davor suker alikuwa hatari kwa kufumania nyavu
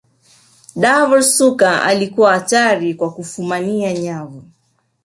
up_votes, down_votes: 1, 2